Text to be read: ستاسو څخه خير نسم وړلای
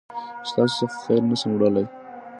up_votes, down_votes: 2, 0